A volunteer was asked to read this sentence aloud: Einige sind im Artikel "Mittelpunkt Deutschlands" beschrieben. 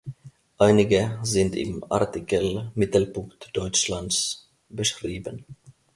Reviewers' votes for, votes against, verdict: 2, 1, accepted